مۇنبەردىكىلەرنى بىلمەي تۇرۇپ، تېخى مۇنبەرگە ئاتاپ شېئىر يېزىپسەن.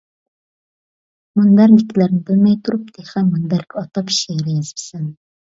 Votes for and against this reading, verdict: 0, 2, rejected